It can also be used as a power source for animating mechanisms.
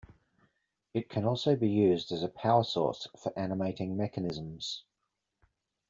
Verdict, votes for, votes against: accepted, 2, 0